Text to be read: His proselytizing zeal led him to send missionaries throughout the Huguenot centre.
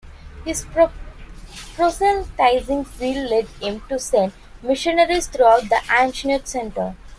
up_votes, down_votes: 0, 2